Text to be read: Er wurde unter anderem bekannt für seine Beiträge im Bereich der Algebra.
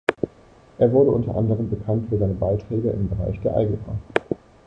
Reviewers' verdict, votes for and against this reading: accepted, 2, 0